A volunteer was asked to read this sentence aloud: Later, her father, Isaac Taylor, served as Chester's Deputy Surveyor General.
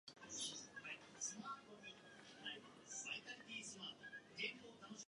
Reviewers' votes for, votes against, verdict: 0, 2, rejected